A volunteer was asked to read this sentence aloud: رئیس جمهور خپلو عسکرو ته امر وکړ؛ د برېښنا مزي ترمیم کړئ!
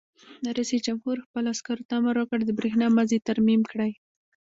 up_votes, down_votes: 0, 2